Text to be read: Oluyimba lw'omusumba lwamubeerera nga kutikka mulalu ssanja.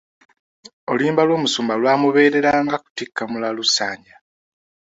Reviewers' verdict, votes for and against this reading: accepted, 2, 1